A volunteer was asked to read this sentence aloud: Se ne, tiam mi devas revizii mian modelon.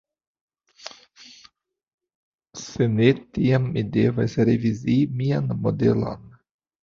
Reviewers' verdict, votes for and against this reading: accepted, 2, 1